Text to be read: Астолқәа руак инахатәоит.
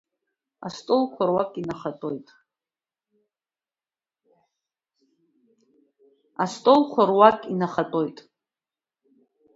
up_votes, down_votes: 2, 3